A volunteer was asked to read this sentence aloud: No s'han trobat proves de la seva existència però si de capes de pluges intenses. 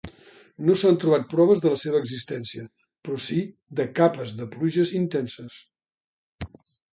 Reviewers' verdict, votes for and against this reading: accepted, 2, 0